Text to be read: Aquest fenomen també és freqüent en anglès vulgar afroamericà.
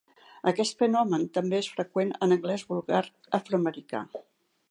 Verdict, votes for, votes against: accepted, 2, 0